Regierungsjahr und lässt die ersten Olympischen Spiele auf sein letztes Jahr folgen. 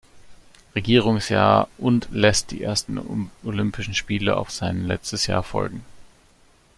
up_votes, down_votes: 1, 2